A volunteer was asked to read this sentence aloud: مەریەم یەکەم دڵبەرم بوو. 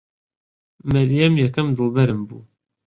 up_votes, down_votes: 2, 0